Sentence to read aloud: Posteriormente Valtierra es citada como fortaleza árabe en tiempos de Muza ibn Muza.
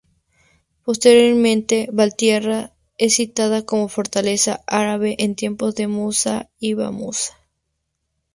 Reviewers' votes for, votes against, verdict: 0, 4, rejected